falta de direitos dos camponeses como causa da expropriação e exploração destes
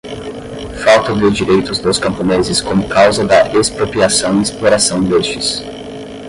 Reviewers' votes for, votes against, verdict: 10, 0, accepted